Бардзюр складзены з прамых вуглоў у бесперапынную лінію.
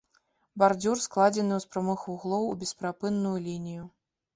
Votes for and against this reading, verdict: 1, 2, rejected